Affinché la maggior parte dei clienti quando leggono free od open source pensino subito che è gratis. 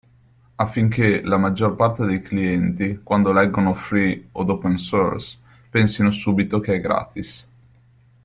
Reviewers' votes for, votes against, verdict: 2, 0, accepted